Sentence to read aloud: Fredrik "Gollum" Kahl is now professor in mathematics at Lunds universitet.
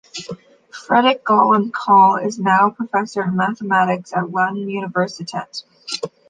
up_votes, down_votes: 2, 0